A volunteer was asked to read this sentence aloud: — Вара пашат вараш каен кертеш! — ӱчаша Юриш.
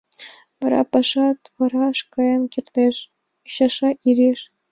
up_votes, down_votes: 0, 2